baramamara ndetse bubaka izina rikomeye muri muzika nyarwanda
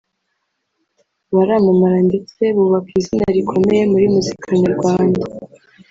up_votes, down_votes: 1, 2